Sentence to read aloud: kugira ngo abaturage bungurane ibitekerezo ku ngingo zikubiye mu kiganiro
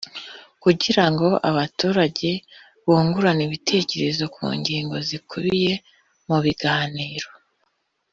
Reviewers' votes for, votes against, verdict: 0, 2, rejected